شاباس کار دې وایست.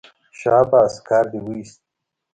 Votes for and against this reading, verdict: 2, 0, accepted